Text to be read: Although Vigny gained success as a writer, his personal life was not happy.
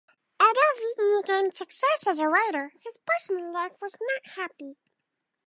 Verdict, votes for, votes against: rejected, 0, 4